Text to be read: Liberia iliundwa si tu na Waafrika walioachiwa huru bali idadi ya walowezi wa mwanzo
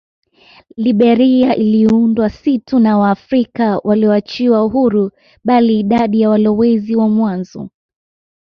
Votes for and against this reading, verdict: 2, 1, accepted